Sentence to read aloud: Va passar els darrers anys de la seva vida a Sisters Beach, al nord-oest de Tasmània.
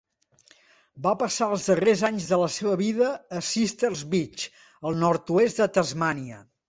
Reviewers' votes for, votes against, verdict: 2, 0, accepted